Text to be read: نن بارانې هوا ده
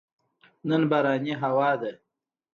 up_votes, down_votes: 2, 0